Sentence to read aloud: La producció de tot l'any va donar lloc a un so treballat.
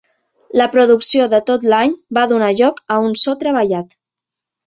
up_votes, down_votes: 1, 2